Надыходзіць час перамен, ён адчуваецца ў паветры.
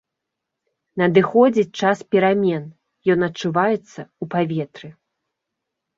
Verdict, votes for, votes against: accepted, 2, 0